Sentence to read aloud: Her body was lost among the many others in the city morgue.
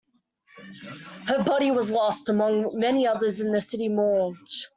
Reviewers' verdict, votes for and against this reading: rejected, 0, 2